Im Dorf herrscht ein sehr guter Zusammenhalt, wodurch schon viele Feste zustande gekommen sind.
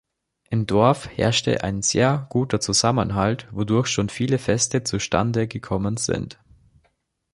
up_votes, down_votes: 0, 2